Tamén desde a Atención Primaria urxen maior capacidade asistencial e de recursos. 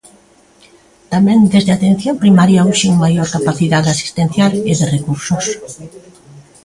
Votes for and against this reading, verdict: 2, 0, accepted